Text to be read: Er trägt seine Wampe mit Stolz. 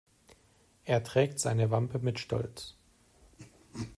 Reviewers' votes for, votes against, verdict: 2, 0, accepted